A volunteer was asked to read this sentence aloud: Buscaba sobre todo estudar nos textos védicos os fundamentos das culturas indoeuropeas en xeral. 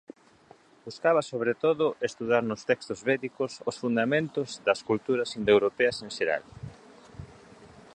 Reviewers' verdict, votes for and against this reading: accepted, 2, 0